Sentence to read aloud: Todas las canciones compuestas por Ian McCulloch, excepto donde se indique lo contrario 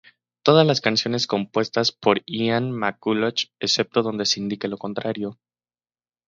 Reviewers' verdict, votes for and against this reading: accepted, 2, 0